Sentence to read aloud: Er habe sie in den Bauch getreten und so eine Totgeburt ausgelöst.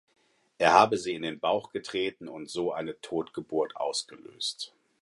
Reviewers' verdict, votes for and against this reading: accepted, 4, 0